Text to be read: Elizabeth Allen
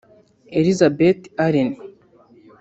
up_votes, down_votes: 1, 2